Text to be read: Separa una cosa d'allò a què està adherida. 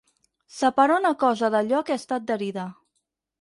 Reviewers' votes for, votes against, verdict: 0, 4, rejected